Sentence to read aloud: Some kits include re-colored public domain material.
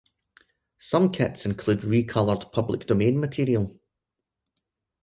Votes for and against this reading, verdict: 6, 0, accepted